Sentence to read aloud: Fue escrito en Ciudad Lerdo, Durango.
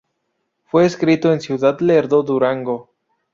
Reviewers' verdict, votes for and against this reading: rejected, 0, 2